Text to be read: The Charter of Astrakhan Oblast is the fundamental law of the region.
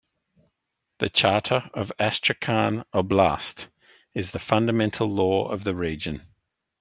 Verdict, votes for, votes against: accepted, 2, 0